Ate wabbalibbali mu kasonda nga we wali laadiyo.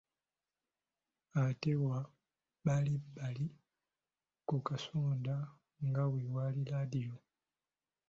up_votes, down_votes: 2, 3